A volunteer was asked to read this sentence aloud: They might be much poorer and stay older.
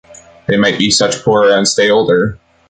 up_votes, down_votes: 1, 2